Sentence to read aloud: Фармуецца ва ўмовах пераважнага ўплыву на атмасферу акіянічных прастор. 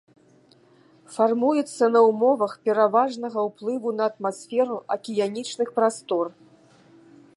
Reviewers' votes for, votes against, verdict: 1, 2, rejected